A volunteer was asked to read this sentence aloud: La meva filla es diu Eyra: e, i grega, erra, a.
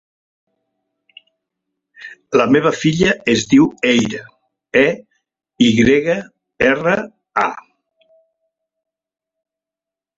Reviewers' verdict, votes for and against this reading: accepted, 3, 0